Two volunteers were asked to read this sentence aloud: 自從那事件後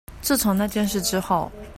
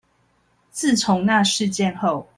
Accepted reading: second